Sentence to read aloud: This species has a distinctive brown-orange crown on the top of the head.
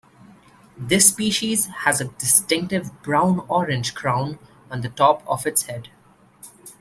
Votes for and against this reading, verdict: 0, 2, rejected